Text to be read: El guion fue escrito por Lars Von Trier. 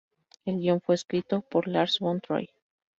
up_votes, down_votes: 2, 0